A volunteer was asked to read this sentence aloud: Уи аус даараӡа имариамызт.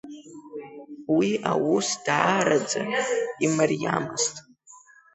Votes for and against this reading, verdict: 2, 1, accepted